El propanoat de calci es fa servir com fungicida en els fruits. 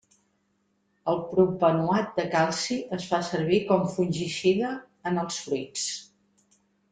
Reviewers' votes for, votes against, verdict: 2, 0, accepted